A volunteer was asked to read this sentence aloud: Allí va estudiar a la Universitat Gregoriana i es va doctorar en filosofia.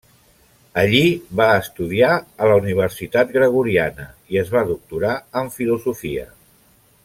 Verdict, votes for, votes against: accepted, 3, 0